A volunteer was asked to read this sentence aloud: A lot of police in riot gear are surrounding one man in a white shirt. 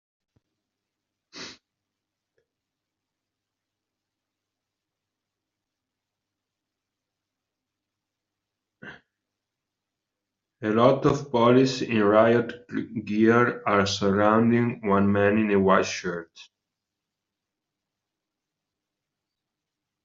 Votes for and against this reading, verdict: 0, 2, rejected